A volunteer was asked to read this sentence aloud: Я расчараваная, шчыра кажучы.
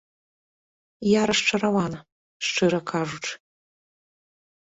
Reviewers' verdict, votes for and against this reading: rejected, 1, 2